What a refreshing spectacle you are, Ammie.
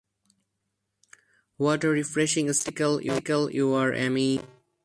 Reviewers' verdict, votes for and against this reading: rejected, 0, 4